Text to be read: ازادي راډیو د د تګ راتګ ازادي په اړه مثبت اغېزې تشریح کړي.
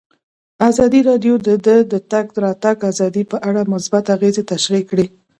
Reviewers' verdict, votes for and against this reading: accepted, 2, 0